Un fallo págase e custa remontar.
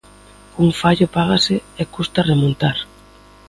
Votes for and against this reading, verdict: 2, 0, accepted